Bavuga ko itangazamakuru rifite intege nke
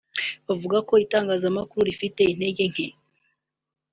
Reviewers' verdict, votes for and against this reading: accepted, 3, 0